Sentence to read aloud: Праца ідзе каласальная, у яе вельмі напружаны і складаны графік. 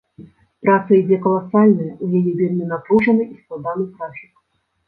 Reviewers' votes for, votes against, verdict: 0, 2, rejected